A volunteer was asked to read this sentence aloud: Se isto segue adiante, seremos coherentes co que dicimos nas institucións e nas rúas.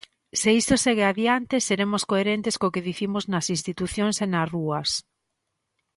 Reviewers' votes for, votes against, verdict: 1, 2, rejected